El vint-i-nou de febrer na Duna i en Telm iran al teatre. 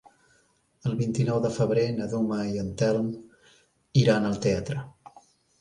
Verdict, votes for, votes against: rejected, 1, 2